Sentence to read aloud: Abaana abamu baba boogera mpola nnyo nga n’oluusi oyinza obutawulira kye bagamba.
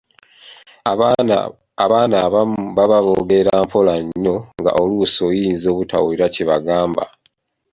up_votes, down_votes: 1, 2